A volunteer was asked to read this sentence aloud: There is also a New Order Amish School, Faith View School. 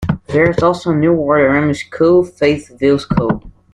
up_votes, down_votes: 0, 2